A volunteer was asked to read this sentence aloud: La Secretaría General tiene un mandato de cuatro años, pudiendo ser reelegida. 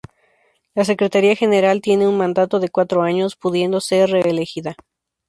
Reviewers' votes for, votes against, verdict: 6, 0, accepted